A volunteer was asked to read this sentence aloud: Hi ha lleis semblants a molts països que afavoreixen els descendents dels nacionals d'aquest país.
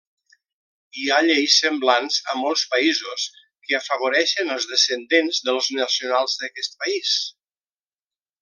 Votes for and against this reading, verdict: 3, 1, accepted